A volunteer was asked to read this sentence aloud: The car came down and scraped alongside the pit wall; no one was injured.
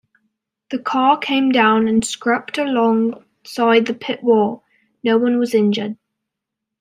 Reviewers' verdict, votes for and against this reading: rejected, 0, 2